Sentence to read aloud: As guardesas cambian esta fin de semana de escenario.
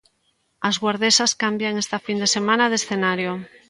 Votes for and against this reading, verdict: 2, 0, accepted